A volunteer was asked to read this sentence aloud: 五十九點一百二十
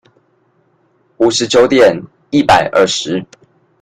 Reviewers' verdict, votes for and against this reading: accepted, 2, 0